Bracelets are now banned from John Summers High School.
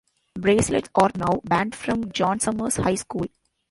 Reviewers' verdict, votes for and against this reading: rejected, 0, 2